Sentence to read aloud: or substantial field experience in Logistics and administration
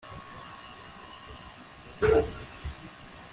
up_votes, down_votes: 0, 2